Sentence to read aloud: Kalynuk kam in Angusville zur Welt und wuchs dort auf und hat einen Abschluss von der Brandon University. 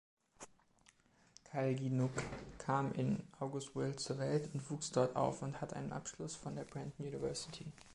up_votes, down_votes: 2, 0